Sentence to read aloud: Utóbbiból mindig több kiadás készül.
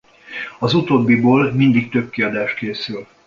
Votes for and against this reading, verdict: 1, 2, rejected